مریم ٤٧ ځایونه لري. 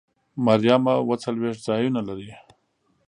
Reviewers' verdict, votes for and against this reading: rejected, 0, 2